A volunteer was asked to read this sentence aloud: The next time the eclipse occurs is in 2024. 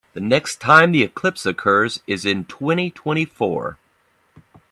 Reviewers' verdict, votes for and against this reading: rejected, 0, 2